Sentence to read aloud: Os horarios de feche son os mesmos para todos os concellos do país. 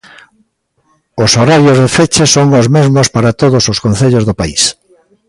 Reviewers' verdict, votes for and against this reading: rejected, 1, 2